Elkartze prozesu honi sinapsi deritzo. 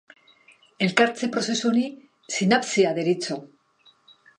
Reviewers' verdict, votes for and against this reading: rejected, 1, 2